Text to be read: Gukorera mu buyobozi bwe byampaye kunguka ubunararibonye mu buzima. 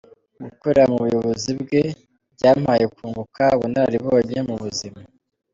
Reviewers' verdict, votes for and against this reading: rejected, 1, 2